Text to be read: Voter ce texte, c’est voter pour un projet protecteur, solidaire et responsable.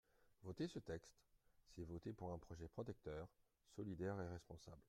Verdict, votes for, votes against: accepted, 2, 0